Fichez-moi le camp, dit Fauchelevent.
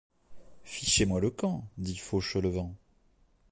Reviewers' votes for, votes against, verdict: 2, 0, accepted